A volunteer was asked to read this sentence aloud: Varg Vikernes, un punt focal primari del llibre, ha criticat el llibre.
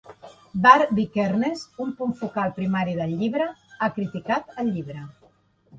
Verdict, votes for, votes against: accepted, 2, 0